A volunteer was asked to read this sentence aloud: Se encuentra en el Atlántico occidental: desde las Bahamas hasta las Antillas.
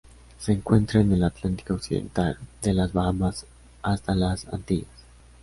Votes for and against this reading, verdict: 2, 1, accepted